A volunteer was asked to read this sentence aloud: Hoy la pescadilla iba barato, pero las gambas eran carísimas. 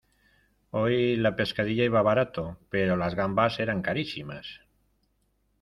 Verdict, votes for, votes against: accepted, 2, 0